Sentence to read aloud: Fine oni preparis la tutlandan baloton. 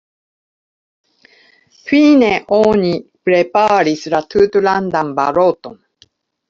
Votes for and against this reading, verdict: 2, 1, accepted